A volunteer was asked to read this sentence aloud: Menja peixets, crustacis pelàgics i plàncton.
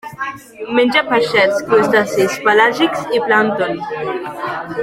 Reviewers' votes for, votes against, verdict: 1, 2, rejected